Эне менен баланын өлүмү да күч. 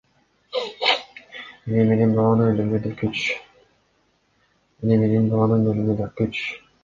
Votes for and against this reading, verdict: 2, 0, accepted